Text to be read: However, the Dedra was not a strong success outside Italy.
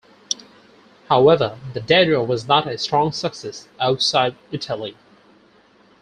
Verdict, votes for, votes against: accepted, 4, 0